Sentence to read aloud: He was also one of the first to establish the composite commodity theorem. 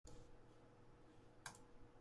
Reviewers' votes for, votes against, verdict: 0, 2, rejected